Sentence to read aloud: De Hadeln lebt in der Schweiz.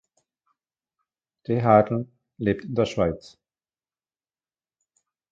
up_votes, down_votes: 1, 2